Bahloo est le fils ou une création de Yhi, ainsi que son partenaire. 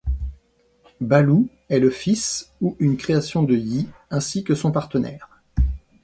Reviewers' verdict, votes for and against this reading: accepted, 2, 0